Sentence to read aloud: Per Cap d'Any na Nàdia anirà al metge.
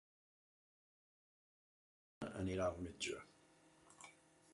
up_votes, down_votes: 0, 2